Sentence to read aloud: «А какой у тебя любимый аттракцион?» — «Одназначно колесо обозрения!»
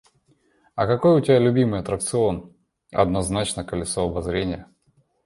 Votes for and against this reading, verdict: 2, 0, accepted